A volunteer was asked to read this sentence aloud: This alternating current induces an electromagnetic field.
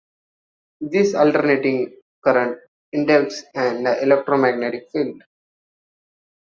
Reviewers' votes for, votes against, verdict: 0, 2, rejected